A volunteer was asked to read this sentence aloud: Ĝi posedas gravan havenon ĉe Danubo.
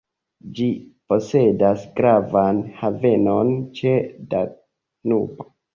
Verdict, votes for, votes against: accepted, 2, 0